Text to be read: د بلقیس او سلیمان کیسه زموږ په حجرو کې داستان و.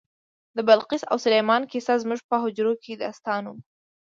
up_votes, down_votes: 2, 0